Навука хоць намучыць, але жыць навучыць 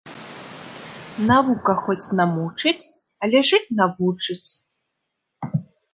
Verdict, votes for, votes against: accepted, 2, 1